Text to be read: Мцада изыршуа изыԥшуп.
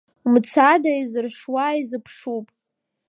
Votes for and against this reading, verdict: 1, 2, rejected